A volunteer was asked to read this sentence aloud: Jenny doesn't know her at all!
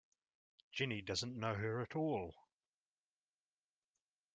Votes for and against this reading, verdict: 1, 2, rejected